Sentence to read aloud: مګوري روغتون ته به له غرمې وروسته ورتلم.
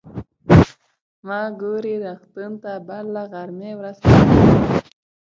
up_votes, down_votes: 0, 2